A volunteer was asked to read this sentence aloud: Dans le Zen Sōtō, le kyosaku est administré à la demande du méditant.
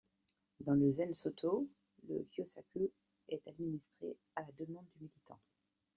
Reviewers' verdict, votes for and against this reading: accepted, 2, 0